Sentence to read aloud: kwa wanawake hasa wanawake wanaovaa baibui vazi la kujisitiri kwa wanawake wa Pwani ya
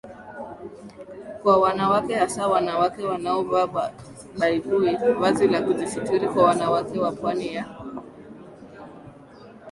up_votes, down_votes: 1, 2